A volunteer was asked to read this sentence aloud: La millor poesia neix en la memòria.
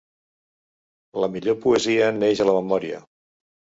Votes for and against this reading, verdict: 1, 2, rejected